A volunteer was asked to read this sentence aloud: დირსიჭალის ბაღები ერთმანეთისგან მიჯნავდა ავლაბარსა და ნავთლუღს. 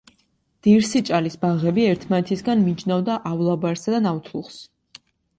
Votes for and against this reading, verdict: 2, 0, accepted